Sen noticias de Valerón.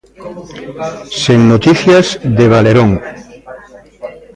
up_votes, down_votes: 1, 2